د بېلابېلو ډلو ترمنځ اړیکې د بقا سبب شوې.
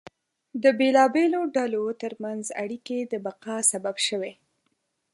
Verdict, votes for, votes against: accepted, 2, 0